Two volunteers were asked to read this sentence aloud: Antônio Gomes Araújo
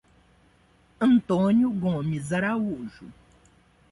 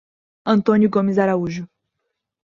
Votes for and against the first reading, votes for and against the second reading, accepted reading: 1, 2, 2, 0, second